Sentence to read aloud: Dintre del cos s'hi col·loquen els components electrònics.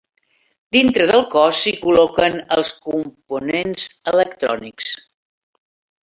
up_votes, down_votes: 1, 2